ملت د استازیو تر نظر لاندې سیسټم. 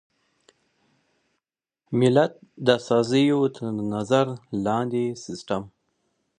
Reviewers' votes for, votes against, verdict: 2, 1, accepted